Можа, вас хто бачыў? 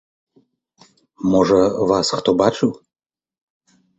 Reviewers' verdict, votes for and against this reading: accepted, 3, 0